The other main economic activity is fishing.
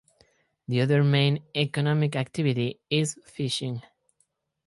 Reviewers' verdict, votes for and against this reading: accepted, 4, 0